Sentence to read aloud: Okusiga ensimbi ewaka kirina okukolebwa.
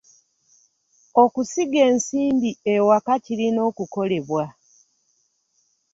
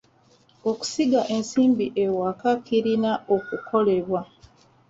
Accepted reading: first